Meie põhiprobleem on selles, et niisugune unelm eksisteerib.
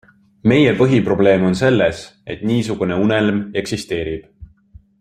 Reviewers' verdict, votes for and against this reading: accepted, 2, 0